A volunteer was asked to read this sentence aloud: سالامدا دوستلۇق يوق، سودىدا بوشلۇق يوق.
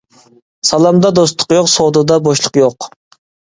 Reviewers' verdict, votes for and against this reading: accepted, 2, 0